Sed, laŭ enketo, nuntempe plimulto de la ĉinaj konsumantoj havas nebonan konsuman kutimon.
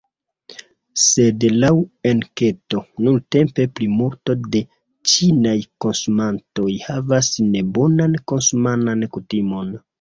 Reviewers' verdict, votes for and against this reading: rejected, 0, 2